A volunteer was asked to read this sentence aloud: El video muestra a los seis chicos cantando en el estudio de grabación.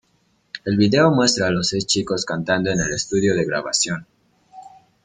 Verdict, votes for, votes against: accepted, 2, 0